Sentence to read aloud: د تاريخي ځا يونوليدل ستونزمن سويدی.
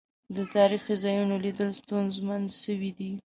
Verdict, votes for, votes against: rejected, 1, 2